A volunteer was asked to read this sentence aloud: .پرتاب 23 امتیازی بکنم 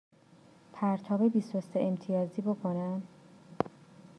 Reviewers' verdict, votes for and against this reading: rejected, 0, 2